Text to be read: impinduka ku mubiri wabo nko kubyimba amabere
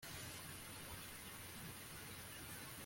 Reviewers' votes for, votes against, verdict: 1, 2, rejected